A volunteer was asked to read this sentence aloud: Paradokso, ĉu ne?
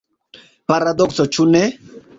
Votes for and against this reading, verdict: 2, 1, accepted